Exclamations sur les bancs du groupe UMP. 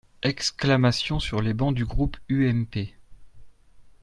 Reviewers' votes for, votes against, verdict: 1, 2, rejected